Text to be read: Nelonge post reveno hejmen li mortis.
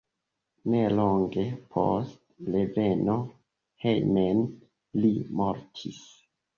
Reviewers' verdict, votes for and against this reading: accepted, 2, 1